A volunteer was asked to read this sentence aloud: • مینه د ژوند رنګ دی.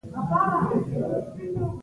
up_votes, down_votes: 0, 2